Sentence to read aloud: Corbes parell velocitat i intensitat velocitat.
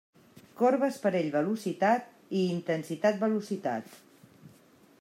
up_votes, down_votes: 0, 2